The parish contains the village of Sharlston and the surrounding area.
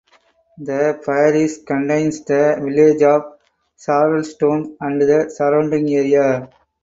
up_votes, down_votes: 4, 2